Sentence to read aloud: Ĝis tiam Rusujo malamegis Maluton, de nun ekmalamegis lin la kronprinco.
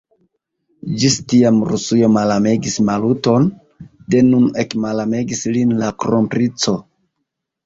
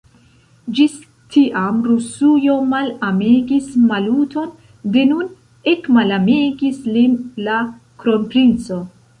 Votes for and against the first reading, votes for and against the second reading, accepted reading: 2, 0, 0, 2, first